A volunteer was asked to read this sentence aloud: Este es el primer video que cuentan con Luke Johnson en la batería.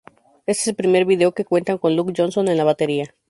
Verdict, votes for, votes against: accepted, 2, 0